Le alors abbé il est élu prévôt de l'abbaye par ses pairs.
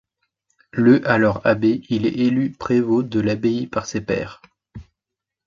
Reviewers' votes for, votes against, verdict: 2, 0, accepted